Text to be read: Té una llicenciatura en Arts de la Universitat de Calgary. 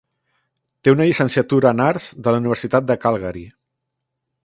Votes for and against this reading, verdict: 3, 0, accepted